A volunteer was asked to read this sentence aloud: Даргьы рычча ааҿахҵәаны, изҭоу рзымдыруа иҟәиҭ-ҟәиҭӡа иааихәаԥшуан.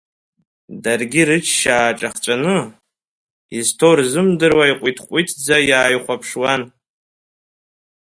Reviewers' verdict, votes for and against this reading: accepted, 2, 1